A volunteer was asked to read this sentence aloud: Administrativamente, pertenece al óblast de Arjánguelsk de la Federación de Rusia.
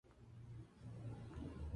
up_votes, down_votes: 0, 2